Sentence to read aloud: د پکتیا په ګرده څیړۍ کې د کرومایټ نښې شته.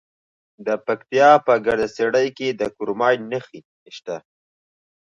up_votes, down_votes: 2, 0